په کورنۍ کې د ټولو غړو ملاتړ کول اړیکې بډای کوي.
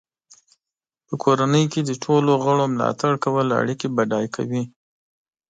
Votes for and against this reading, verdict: 2, 0, accepted